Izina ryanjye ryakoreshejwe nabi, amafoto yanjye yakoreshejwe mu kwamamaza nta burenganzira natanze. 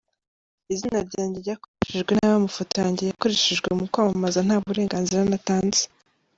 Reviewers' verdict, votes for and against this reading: accepted, 2, 0